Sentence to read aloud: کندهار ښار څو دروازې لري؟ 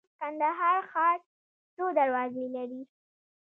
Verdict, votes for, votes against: accepted, 2, 0